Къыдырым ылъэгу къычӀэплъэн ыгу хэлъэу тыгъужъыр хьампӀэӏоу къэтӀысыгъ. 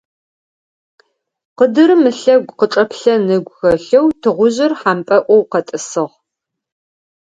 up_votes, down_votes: 4, 0